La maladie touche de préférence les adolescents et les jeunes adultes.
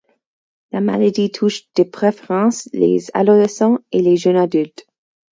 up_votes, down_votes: 2, 4